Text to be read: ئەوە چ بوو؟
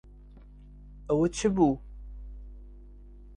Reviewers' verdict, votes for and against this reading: accepted, 2, 0